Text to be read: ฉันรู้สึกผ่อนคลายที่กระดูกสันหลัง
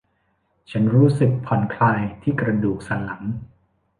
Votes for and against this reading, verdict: 1, 2, rejected